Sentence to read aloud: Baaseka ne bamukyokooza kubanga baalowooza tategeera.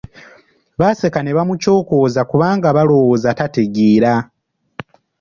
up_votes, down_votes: 1, 3